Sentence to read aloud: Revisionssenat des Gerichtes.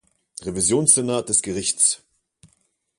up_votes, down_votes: 0, 2